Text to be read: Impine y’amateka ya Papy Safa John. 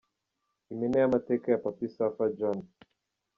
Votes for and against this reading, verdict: 1, 2, rejected